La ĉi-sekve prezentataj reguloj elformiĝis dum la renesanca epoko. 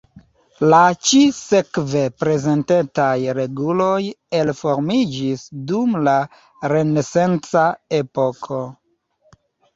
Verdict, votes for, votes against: rejected, 1, 2